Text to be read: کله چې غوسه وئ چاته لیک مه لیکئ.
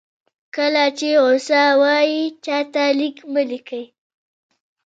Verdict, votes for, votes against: rejected, 0, 2